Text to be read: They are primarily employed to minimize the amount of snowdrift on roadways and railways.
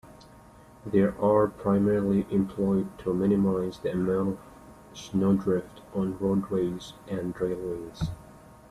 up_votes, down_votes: 2, 1